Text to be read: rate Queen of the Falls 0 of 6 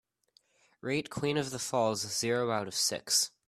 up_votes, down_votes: 0, 2